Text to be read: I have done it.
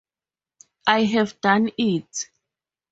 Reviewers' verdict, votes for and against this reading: accepted, 4, 0